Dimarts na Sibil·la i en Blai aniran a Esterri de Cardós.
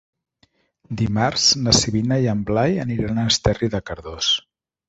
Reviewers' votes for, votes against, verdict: 0, 2, rejected